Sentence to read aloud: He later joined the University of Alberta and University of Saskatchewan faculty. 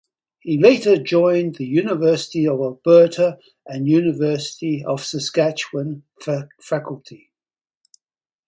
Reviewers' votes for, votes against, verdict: 2, 2, rejected